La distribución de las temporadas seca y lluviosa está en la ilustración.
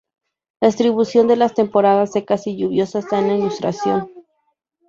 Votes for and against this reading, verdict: 0, 2, rejected